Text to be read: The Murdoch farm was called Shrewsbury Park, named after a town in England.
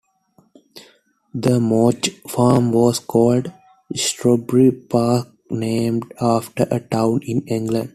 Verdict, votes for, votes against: rejected, 0, 2